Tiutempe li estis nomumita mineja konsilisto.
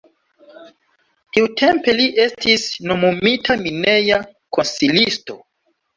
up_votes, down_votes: 2, 1